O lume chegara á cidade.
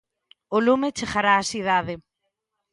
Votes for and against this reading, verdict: 0, 2, rejected